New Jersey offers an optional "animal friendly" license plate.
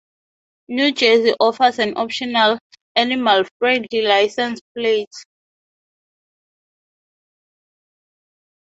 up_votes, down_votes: 0, 2